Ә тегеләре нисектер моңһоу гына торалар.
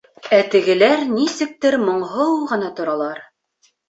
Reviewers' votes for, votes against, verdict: 1, 2, rejected